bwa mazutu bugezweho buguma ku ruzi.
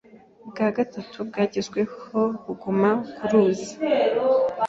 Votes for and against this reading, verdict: 0, 2, rejected